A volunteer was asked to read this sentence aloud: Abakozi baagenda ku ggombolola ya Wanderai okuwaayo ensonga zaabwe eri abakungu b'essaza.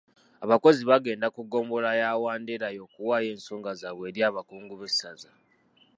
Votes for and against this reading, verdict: 0, 2, rejected